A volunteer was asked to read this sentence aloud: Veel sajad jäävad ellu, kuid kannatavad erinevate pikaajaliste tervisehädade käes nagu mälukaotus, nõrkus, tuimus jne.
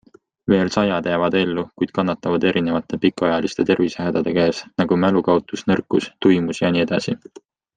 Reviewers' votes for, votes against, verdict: 2, 0, accepted